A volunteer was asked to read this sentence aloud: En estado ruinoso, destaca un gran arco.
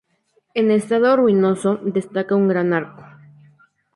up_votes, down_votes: 0, 2